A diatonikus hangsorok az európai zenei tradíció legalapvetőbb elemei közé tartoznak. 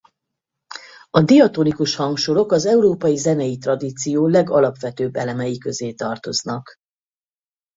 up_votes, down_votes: 4, 0